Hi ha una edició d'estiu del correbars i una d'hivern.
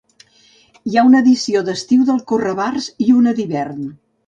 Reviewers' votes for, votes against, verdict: 0, 2, rejected